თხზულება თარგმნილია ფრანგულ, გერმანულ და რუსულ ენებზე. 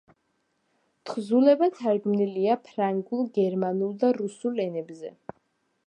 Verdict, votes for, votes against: accepted, 2, 0